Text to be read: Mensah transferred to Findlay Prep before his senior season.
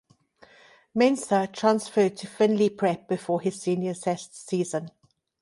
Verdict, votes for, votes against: rejected, 0, 2